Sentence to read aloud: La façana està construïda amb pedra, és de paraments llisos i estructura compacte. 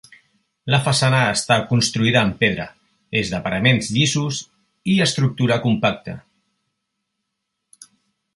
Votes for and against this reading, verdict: 2, 0, accepted